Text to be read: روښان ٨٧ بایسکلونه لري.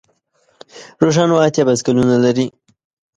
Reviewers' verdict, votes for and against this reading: rejected, 0, 2